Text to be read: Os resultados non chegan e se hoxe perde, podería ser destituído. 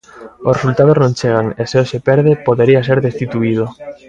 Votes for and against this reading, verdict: 3, 0, accepted